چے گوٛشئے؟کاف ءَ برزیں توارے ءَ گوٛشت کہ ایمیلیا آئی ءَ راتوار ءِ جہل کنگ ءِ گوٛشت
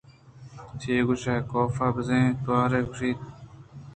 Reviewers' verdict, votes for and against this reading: rejected, 1, 2